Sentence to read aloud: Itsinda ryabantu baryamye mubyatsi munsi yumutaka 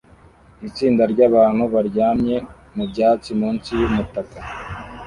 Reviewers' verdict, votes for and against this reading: accepted, 2, 0